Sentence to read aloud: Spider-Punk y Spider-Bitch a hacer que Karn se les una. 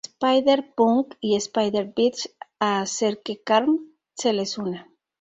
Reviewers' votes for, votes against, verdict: 0, 2, rejected